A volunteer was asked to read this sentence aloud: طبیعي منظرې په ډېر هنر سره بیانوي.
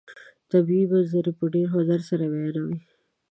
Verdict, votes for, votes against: accepted, 2, 1